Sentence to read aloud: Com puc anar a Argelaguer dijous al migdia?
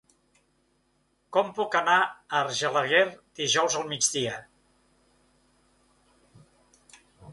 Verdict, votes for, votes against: accepted, 3, 0